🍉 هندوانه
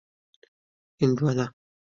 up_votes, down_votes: 2, 1